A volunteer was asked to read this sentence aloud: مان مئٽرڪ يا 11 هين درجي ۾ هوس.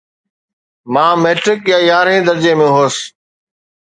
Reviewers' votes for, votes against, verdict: 0, 2, rejected